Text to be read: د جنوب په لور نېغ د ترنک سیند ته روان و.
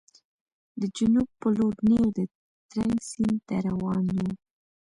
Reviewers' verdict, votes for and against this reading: accepted, 2, 0